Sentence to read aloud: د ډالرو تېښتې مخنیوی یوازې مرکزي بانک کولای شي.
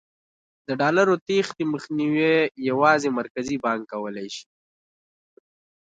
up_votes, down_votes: 0, 2